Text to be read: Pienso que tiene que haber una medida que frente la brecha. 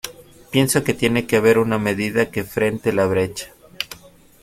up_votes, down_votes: 3, 1